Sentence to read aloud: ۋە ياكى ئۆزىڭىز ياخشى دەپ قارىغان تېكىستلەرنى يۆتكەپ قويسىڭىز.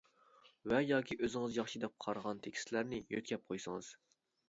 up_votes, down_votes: 2, 0